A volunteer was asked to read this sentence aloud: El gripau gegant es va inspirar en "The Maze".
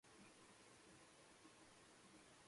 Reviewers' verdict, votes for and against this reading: rejected, 0, 2